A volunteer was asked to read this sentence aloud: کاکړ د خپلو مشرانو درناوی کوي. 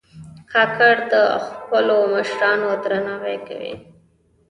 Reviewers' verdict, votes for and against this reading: accepted, 2, 0